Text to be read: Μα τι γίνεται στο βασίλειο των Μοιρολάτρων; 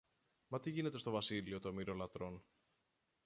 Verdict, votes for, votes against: rejected, 0, 2